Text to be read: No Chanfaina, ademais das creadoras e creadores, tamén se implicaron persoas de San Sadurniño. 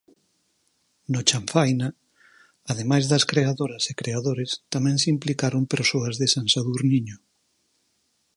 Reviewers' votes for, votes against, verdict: 4, 0, accepted